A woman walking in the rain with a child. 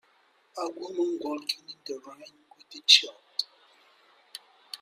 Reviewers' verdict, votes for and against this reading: rejected, 1, 2